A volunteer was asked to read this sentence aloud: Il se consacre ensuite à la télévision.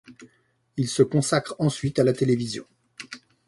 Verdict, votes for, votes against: accepted, 2, 0